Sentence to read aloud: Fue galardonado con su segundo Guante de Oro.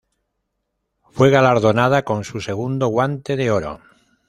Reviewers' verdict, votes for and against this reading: rejected, 1, 2